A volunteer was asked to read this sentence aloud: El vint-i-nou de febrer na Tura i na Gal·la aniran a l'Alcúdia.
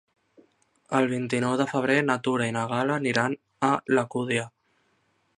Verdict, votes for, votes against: rejected, 1, 2